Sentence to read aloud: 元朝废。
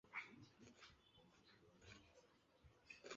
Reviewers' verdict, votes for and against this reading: rejected, 0, 2